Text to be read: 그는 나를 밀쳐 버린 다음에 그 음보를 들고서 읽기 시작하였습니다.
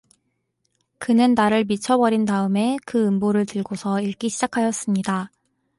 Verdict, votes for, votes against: accepted, 2, 0